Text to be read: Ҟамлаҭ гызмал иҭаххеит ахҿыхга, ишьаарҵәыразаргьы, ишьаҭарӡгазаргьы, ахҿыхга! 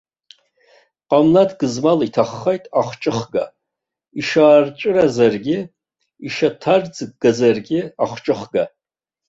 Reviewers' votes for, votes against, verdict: 1, 2, rejected